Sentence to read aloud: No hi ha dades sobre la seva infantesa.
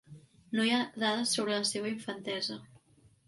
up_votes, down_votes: 3, 0